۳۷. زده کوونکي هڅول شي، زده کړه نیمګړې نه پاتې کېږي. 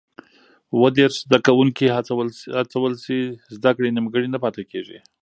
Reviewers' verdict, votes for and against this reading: rejected, 0, 2